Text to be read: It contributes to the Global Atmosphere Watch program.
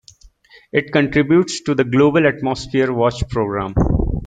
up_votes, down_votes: 2, 0